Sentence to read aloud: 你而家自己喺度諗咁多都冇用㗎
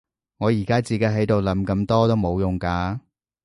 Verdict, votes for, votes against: accepted, 2, 1